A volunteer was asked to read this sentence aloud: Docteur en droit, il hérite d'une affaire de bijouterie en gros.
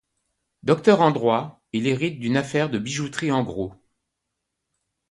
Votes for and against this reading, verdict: 2, 0, accepted